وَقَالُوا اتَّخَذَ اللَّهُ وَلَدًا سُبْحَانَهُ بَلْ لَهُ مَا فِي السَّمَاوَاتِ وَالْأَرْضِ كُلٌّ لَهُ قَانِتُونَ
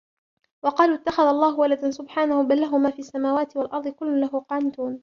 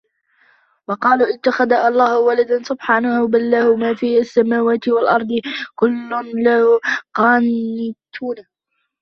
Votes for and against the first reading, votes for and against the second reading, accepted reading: 2, 1, 1, 2, first